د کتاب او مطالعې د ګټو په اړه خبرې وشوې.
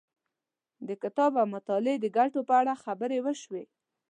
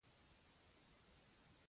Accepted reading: first